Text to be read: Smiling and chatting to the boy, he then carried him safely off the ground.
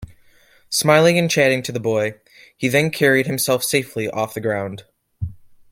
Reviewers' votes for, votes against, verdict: 1, 2, rejected